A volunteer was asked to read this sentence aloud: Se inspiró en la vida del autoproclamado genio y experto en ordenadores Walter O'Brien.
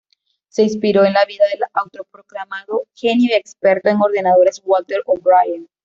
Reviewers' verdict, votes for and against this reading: accepted, 2, 0